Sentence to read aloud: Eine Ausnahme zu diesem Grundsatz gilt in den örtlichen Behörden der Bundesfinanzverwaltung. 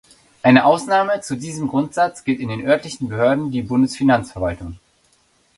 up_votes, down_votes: 0, 2